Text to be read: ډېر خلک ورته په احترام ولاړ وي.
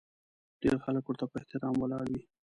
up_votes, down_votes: 2, 0